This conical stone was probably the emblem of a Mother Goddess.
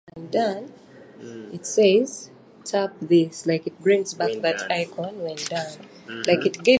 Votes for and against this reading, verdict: 0, 2, rejected